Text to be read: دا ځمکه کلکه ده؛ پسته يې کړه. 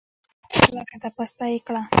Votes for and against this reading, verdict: 2, 0, accepted